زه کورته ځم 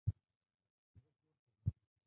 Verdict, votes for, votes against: rejected, 1, 2